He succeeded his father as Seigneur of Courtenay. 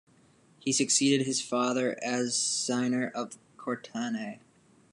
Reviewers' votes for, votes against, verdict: 1, 2, rejected